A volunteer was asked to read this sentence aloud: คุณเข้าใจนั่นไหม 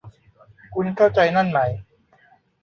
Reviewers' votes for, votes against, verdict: 1, 2, rejected